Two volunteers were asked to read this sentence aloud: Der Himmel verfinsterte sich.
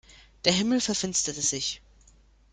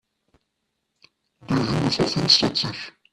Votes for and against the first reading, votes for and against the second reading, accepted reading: 2, 0, 0, 2, first